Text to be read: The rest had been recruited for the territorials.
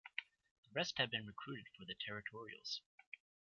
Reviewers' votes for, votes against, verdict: 2, 1, accepted